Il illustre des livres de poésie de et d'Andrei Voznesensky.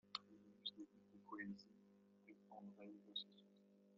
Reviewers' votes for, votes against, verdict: 1, 2, rejected